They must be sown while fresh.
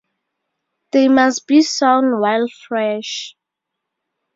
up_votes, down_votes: 4, 0